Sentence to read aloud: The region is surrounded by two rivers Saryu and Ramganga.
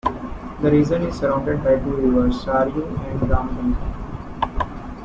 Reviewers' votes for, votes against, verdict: 0, 2, rejected